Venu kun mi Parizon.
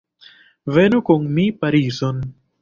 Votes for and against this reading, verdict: 2, 0, accepted